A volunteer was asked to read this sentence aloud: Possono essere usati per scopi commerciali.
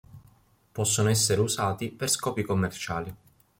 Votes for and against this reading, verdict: 2, 0, accepted